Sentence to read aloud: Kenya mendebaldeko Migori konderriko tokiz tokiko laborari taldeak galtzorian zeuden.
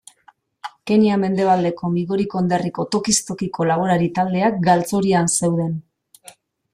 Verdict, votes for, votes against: accepted, 2, 0